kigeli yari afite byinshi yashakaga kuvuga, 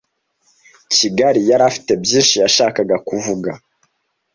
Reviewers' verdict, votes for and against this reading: rejected, 1, 2